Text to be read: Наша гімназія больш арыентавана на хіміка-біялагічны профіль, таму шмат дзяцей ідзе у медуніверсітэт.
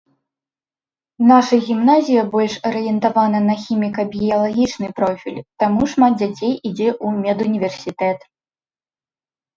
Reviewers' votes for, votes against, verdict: 2, 0, accepted